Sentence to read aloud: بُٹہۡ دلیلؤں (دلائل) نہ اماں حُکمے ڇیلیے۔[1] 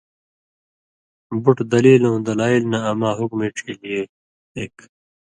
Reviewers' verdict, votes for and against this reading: rejected, 0, 2